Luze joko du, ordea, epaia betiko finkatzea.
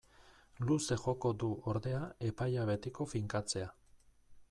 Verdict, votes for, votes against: accepted, 2, 0